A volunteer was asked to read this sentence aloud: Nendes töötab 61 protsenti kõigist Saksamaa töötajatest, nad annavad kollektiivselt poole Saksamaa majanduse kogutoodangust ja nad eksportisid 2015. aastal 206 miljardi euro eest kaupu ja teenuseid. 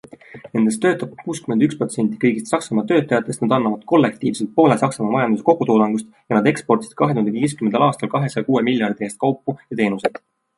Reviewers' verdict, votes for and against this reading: rejected, 0, 2